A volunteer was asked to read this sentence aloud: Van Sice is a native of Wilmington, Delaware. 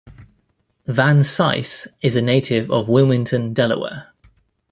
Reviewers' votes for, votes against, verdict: 2, 0, accepted